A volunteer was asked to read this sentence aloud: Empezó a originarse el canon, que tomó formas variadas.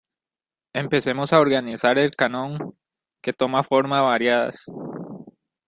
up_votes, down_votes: 0, 2